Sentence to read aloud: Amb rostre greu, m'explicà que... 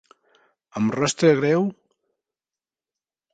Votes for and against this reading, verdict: 0, 2, rejected